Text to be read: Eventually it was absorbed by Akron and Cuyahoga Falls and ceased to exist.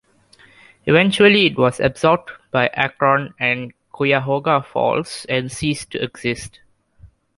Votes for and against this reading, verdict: 2, 0, accepted